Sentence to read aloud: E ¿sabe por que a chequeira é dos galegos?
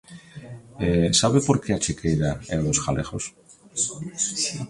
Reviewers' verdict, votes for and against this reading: rejected, 1, 2